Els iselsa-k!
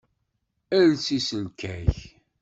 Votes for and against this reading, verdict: 1, 2, rejected